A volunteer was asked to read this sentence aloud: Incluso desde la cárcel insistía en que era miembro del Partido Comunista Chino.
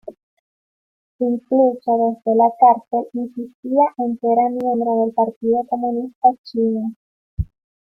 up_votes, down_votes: 0, 2